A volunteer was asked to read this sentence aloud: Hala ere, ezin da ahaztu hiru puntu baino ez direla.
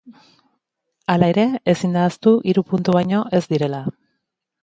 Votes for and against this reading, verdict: 2, 0, accepted